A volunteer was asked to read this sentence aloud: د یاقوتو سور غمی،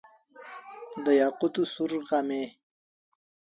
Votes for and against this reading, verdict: 2, 1, accepted